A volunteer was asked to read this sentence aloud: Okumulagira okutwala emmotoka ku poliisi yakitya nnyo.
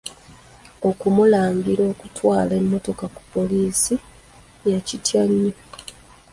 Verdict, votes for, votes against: rejected, 1, 2